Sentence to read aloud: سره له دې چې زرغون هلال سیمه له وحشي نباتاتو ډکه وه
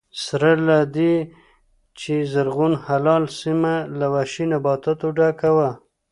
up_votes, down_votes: 1, 2